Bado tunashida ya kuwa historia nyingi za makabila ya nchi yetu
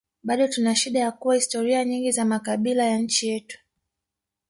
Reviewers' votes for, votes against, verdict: 1, 2, rejected